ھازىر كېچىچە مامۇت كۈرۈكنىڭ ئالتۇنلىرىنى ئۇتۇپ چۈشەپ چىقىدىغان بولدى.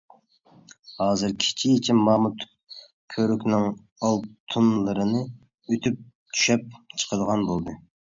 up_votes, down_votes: 2, 1